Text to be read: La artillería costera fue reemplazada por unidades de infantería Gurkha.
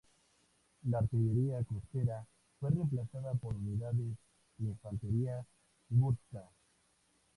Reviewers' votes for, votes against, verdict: 0, 2, rejected